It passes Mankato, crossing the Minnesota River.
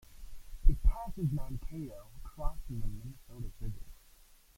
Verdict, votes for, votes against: rejected, 1, 2